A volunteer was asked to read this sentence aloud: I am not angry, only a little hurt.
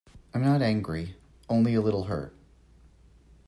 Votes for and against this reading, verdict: 0, 2, rejected